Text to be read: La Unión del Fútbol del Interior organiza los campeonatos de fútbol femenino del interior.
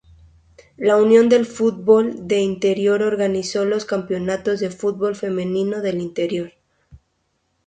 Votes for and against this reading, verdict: 0, 2, rejected